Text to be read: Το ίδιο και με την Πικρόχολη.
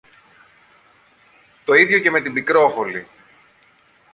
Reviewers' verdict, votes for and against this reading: rejected, 1, 2